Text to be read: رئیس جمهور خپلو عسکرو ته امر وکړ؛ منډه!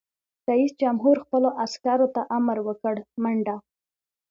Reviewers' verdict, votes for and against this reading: accepted, 2, 0